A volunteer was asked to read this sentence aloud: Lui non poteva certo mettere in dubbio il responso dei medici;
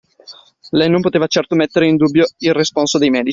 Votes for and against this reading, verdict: 1, 2, rejected